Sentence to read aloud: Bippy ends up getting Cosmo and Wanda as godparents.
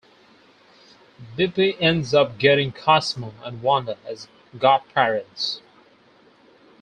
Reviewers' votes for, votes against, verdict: 4, 0, accepted